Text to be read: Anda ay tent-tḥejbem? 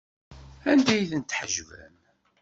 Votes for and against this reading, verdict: 2, 0, accepted